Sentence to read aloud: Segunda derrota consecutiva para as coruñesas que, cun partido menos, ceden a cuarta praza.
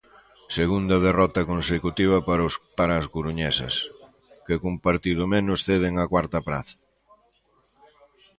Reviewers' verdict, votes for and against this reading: rejected, 0, 3